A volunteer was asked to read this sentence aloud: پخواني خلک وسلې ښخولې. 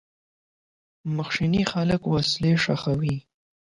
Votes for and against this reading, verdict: 0, 8, rejected